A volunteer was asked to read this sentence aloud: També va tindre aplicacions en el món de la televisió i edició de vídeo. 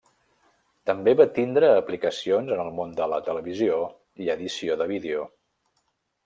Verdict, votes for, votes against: accepted, 3, 0